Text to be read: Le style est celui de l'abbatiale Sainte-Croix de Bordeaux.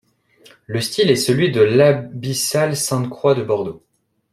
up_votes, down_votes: 0, 2